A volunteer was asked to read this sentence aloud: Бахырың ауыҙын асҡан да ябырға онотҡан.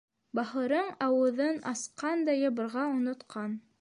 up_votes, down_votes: 1, 2